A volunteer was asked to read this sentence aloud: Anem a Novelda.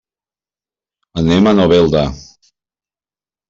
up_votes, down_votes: 3, 0